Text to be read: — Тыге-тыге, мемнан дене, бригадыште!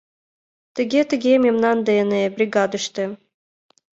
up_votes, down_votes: 2, 0